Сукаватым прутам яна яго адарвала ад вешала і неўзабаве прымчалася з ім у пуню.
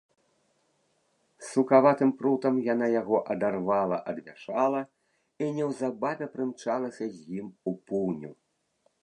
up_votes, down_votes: 1, 2